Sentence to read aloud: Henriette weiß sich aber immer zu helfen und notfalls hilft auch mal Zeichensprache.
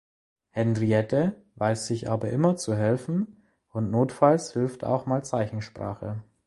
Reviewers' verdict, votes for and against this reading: accepted, 2, 0